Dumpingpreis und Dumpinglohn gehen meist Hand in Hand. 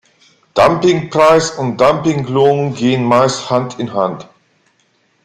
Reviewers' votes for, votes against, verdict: 2, 0, accepted